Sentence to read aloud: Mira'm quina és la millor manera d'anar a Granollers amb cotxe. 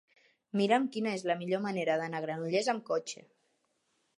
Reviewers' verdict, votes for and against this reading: accepted, 3, 0